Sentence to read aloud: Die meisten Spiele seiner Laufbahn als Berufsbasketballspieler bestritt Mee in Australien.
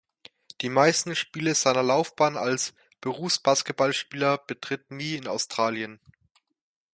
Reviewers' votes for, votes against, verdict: 0, 2, rejected